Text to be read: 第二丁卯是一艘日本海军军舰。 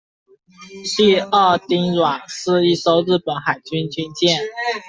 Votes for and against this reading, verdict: 0, 2, rejected